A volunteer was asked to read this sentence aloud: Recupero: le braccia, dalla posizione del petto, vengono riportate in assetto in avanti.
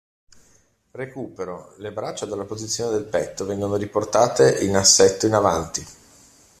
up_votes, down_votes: 2, 0